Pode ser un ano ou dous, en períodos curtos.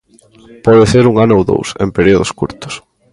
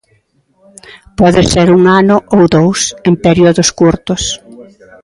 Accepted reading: second